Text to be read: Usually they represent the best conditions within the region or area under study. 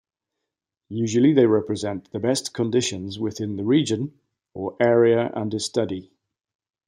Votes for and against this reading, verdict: 2, 0, accepted